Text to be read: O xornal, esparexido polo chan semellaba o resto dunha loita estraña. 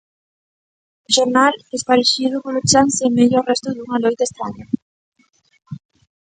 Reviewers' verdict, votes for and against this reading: rejected, 0, 2